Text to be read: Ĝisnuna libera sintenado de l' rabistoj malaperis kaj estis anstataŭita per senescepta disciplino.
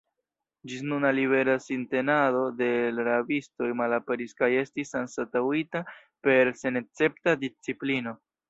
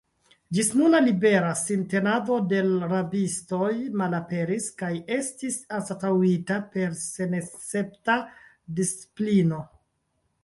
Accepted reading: second